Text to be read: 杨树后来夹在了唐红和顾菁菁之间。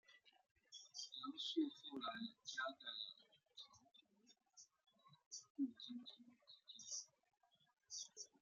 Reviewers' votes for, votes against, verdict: 0, 2, rejected